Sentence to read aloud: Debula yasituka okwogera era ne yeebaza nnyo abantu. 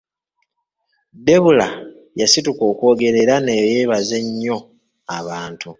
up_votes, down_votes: 1, 2